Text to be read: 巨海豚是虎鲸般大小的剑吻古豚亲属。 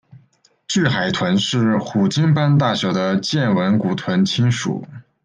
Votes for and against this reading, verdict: 2, 0, accepted